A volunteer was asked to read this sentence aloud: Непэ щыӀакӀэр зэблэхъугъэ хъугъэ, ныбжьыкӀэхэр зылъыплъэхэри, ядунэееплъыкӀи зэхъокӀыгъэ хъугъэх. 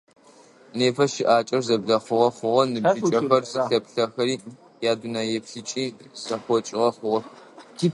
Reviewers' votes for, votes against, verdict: 0, 2, rejected